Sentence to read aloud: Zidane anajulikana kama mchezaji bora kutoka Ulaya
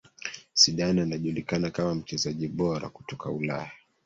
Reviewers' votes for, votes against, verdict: 1, 2, rejected